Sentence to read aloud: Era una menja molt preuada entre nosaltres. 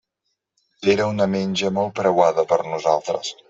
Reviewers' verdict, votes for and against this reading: rejected, 0, 2